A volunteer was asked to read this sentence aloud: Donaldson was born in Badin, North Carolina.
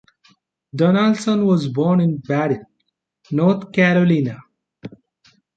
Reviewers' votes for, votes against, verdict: 1, 2, rejected